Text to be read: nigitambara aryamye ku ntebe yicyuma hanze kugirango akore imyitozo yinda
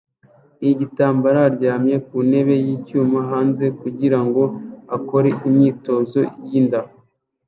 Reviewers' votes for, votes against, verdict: 0, 2, rejected